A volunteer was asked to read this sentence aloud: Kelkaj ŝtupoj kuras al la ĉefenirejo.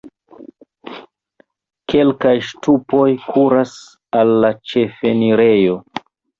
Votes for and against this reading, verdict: 1, 2, rejected